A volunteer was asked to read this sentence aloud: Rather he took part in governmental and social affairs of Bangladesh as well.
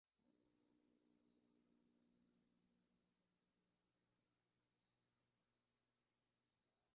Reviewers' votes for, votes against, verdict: 0, 3, rejected